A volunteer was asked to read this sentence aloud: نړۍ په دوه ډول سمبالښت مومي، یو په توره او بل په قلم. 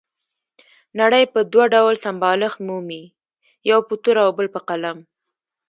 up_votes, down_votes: 1, 2